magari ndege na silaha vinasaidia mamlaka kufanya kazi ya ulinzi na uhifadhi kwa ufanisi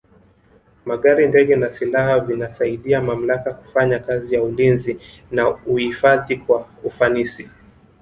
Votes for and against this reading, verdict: 1, 2, rejected